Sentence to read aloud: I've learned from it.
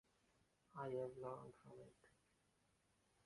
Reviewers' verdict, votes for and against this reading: rejected, 1, 2